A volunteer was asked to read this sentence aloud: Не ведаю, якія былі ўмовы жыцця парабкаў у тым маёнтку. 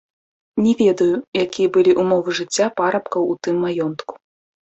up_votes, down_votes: 1, 2